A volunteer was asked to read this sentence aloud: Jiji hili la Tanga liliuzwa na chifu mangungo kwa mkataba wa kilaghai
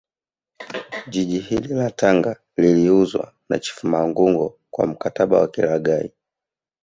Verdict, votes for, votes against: rejected, 1, 2